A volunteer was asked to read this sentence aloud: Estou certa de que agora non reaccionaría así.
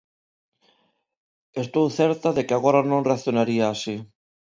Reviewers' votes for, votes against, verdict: 2, 0, accepted